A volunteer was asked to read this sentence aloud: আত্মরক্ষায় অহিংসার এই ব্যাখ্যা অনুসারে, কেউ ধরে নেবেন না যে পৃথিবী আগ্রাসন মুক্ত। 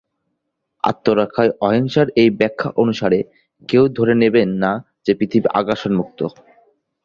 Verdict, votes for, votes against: accepted, 2, 0